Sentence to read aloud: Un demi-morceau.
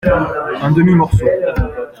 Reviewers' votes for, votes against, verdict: 2, 0, accepted